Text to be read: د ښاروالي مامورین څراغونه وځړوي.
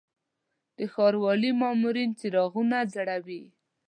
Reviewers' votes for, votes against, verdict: 0, 2, rejected